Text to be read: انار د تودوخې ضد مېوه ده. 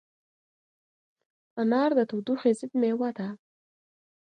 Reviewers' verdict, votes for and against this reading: accepted, 2, 0